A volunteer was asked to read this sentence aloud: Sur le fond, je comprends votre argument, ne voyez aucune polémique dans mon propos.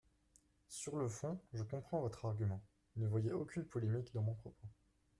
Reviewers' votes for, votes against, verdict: 2, 0, accepted